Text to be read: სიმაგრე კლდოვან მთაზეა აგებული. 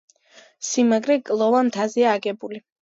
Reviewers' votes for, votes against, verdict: 2, 0, accepted